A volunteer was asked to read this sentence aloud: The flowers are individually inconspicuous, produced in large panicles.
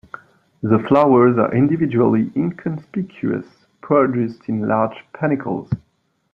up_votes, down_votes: 2, 0